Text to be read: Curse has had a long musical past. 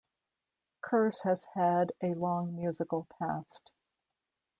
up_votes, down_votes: 2, 0